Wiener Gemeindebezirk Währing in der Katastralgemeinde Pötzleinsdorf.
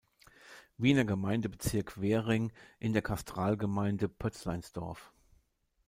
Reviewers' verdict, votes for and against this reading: rejected, 0, 3